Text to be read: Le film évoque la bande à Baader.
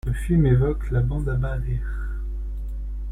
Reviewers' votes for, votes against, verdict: 0, 2, rejected